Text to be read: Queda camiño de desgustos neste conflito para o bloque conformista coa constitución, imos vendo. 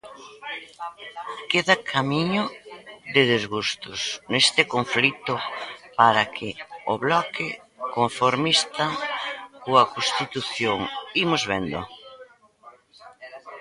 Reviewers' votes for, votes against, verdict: 1, 2, rejected